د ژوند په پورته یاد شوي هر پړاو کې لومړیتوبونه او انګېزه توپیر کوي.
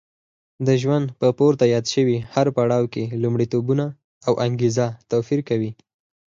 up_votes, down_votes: 4, 0